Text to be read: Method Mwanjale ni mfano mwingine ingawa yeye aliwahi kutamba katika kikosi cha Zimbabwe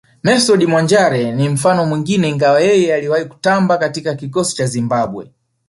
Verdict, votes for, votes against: rejected, 1, 2